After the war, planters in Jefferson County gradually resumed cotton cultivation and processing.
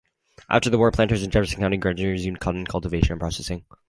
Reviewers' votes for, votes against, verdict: 2, 4, rejected